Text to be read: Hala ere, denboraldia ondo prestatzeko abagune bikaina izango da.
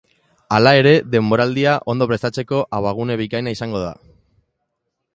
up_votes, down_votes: 2, 0